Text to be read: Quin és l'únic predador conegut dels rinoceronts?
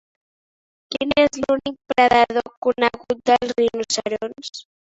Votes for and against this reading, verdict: 1, 2, rejected